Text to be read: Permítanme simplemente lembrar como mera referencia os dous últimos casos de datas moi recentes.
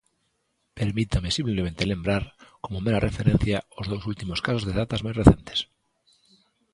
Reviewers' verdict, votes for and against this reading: rejected, 0, 2